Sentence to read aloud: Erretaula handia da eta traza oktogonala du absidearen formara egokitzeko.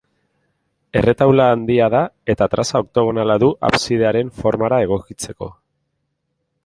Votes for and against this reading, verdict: 2, 2, rejected